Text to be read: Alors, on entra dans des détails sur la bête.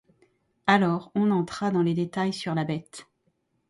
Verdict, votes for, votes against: rejected, 0, 2